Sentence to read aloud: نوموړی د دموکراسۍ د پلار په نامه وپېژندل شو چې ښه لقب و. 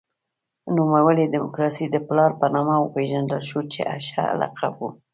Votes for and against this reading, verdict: 2, 0, accepted